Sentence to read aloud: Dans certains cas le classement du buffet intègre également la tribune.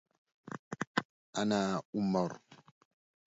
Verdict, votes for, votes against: rejected, 0, 2